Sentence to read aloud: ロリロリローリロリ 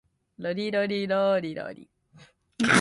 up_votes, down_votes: 2, 0